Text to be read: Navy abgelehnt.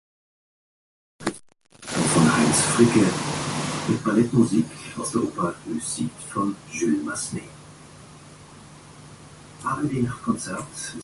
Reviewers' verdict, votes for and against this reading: rejected, 0, 2